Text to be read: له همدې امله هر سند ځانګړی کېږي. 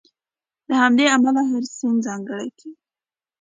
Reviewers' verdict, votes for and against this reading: accepted, 2, 1